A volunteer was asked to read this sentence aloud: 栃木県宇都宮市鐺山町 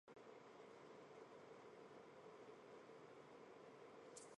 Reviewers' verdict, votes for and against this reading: rejected, 0, 2